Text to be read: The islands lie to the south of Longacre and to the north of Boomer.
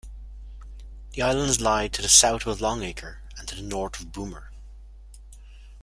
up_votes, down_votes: 2, 0